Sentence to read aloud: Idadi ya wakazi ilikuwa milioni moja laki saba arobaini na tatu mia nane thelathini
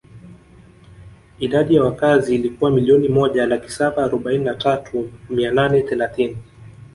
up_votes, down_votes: 3, 0